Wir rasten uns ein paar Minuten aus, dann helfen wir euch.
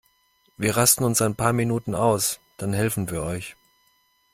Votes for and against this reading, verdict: 2, 0, accepted